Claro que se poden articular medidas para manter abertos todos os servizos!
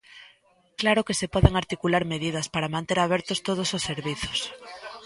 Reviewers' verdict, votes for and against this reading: rejected, 1, 2